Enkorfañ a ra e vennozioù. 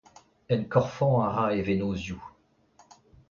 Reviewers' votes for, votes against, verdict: 2, 0, accepted